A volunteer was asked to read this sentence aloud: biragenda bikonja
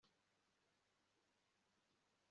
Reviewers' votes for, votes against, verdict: 1, 2, rejected